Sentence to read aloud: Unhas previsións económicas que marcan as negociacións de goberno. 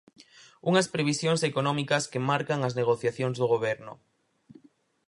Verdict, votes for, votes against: rejected, 0, 4